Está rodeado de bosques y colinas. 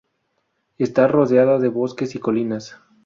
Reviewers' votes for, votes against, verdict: 2, 0, accepted